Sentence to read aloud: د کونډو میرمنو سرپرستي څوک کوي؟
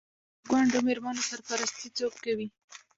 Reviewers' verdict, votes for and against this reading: rejected, 1, 2